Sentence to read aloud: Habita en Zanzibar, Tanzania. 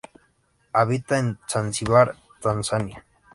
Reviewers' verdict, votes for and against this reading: accepted, 4, 0